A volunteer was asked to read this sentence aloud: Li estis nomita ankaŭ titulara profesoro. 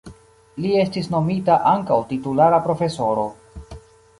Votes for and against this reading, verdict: 2, 0, accepted